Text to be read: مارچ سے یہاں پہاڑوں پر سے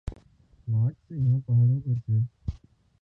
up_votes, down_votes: 1, 2